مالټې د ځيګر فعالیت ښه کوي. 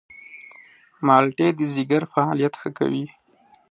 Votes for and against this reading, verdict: 6, 0, accepted